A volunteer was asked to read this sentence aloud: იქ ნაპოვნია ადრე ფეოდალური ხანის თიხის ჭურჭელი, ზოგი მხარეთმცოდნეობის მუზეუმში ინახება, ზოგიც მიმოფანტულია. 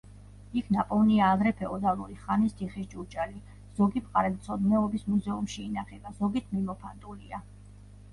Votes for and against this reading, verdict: 1, 2, rejected